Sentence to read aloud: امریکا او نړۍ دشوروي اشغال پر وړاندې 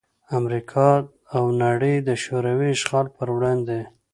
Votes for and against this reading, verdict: 2, 0, accepted